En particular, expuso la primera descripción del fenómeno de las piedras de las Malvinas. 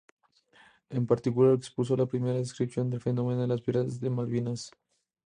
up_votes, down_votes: 2, 0